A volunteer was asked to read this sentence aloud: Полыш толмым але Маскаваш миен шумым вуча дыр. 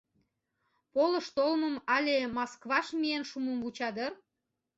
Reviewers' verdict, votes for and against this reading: rejected, 1, 2